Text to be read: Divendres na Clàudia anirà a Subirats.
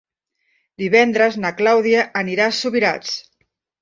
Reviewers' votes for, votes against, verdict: 3, 0, accepted